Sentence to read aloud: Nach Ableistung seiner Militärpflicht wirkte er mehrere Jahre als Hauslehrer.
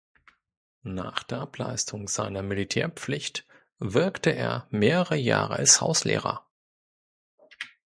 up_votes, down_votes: 0, 2